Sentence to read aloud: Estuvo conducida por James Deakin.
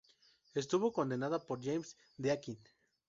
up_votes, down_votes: 0, 2